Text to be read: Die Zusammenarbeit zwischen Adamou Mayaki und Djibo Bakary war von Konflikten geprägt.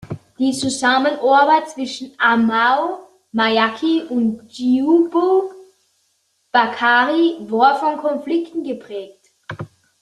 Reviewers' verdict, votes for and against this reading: rejected, 0, 2